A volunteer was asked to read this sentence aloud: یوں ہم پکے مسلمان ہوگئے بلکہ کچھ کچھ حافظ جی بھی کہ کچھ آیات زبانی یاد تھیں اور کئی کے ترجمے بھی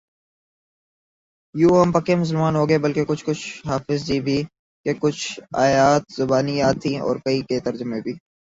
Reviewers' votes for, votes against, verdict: 2, 0, accepted